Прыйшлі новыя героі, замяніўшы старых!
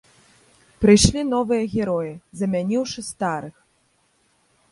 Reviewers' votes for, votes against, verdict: 1, 2, rejected